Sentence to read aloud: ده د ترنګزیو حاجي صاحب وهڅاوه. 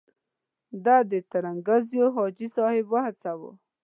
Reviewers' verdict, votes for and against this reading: accepted, 2, 0